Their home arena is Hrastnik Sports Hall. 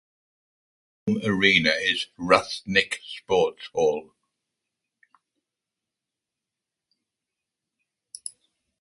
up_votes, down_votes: 0, 2